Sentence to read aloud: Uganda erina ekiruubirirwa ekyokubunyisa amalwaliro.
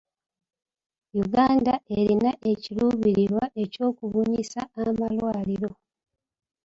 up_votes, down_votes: 2, 0